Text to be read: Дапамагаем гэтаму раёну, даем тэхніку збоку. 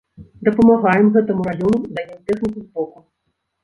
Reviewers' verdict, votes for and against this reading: accepted, 2, 1